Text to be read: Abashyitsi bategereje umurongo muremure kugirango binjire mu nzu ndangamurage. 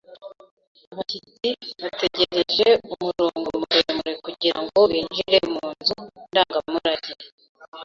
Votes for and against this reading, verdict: 1, 2, rejected